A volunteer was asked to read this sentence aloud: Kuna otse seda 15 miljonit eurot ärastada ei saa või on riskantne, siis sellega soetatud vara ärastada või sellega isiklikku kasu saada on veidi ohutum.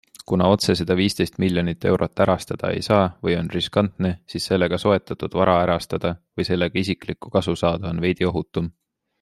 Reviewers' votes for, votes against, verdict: 0, 2, rejected